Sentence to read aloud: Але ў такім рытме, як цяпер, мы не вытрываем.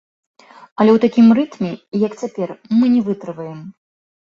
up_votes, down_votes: 2, 0